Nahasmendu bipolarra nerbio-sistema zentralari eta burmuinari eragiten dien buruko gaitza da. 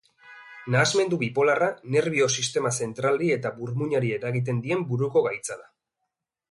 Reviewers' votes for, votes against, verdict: 2, 1, accepted